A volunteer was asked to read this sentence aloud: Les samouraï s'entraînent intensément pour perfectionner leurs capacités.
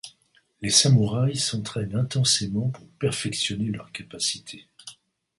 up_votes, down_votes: 2, 0